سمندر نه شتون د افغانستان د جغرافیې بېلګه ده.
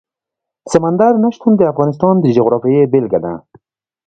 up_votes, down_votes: 2, 0